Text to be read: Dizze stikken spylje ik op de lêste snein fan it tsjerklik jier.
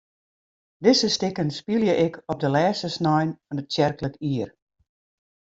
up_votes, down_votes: 2, 0